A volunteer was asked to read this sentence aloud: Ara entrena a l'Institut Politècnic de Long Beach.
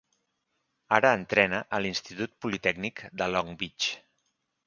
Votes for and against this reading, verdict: 2, 0, accepted